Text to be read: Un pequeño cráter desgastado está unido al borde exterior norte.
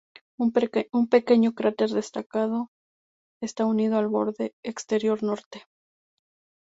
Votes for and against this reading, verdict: 0, 2, rejected